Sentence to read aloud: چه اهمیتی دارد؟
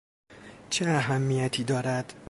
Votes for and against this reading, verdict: 2, 0, accepted